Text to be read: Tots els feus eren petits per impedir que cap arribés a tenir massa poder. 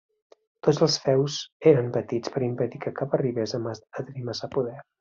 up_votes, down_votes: 0, 2